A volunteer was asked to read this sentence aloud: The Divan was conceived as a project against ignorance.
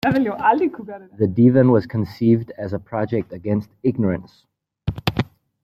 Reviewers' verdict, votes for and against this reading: rejected, 1, 2